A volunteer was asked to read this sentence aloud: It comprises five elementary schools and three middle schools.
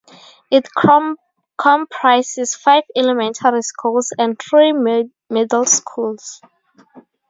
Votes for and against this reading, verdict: 0, 2, rejected